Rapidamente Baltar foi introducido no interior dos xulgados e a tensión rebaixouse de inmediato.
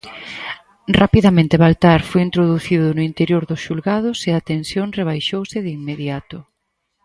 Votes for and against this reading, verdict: 4, 0, accepted